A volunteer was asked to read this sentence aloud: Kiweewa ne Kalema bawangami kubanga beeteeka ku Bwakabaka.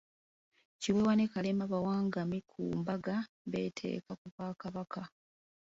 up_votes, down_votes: 0, 2